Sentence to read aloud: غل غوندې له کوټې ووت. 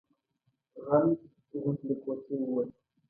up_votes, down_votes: 2, 0